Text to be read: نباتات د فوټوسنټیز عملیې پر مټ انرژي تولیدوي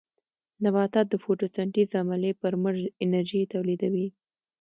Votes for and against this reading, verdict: 2, 0, accepted